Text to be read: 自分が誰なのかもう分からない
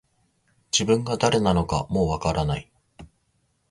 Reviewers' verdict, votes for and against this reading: accepted, 2, 0